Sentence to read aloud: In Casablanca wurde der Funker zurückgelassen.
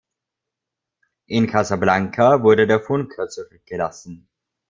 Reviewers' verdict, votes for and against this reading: rejected, 1, 2